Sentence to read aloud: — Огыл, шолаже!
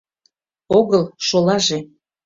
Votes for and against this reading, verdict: 2, 0, accepted